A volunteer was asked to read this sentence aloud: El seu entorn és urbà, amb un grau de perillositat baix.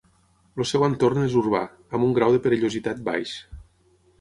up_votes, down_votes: 6, 3